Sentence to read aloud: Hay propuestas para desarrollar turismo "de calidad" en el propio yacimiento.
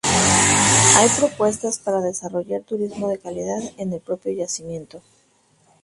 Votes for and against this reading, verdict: 2, 2, rejected